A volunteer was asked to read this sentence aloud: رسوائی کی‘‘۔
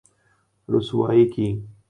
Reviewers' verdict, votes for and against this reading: accepted, 3, 0